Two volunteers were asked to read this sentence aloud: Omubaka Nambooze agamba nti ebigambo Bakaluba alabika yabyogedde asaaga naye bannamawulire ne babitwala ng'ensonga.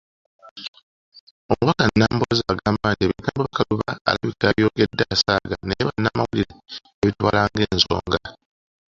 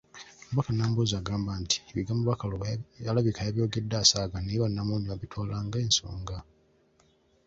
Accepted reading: second